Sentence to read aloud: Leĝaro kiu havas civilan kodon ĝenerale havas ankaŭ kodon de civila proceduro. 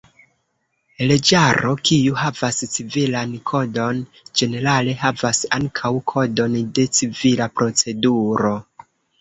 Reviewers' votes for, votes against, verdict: 0, 2, rejected